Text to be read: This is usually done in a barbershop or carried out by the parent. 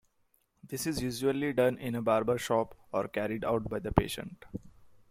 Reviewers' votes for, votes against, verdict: 0, 2, rejected